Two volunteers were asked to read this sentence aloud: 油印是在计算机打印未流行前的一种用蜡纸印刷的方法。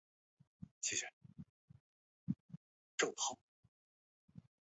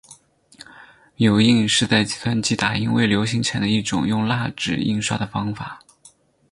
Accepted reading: second